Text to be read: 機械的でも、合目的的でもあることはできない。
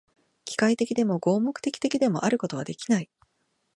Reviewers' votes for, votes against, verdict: 2, 0, accepted